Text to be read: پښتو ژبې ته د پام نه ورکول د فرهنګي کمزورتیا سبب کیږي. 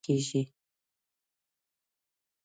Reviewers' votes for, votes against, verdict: 1, 3, rejected